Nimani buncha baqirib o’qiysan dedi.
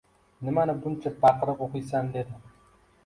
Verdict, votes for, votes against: accepted, 2, 1